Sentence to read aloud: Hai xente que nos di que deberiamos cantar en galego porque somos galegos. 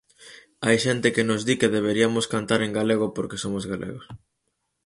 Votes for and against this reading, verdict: 0, 4, rejected